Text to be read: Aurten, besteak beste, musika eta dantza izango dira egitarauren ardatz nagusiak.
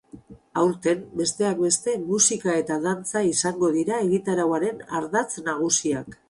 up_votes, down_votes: 2, 2